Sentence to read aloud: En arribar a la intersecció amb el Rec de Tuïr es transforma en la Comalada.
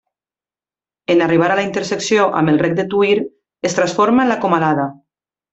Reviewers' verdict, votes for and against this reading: accepted, 2, 0